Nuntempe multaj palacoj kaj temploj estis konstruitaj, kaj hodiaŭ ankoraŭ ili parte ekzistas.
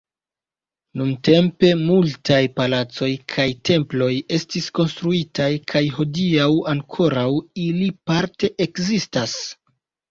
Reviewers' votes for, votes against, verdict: 0, 2, rejected